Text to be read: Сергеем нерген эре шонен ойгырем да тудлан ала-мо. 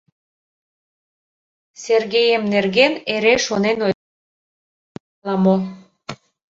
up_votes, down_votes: 0, 2